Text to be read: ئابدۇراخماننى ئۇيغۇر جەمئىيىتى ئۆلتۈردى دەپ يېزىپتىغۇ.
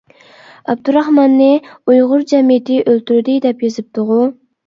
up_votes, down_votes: 2, 0